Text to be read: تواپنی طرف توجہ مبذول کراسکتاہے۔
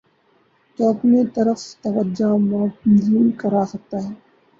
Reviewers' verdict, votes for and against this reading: rejected, 0, 2